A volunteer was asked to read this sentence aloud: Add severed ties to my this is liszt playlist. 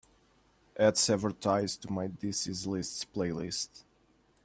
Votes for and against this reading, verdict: 2, 0, accepted